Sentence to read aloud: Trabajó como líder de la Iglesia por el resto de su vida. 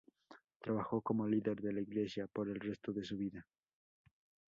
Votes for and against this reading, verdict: 4, 2, accepted